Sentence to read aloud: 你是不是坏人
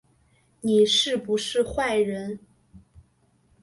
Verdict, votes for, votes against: accepted, 5, 0